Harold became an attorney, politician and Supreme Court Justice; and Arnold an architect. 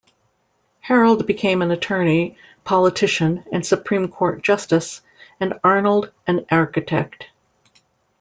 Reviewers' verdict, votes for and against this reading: accepted, 2, 0